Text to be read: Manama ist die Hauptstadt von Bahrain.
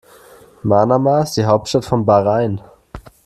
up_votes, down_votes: 2, 0